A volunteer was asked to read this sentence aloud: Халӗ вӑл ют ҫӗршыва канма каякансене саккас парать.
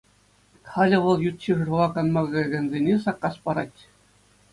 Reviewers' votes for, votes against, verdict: 2, 0, accepted